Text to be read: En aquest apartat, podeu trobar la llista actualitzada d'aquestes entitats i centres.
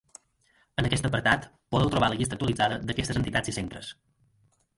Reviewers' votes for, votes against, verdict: 0, 4, rejected